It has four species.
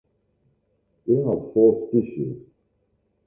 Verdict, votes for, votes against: rejected, 1, 2